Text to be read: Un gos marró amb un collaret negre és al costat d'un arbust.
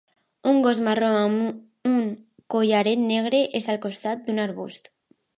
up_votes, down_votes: 0, 3